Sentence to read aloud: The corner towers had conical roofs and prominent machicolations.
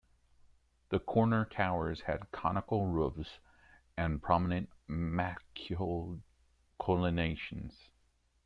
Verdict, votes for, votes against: rejected, 0, 2